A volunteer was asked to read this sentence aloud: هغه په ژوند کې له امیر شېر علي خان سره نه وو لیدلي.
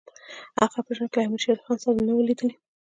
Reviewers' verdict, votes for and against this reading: accepted, 2, 1